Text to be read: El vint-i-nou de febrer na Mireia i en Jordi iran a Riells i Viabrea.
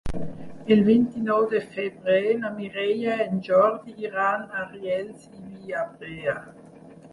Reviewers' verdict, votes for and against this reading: rejected, 2, 4